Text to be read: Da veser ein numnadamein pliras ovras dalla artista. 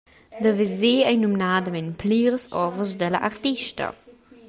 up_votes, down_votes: 2, 0